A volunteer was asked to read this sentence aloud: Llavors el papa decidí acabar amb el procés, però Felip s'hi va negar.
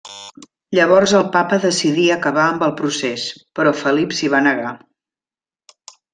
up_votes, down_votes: 1, 2